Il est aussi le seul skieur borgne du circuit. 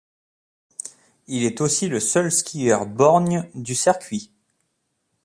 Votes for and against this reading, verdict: 2, 0, accepted